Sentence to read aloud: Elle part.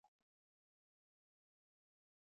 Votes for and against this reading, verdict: 0, 2, rejected